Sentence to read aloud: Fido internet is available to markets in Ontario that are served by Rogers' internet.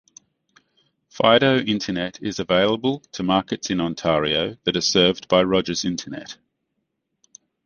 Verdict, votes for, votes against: accepted, 2, 0